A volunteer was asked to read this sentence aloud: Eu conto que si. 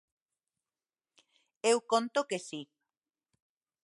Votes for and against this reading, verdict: 2, 0, accepted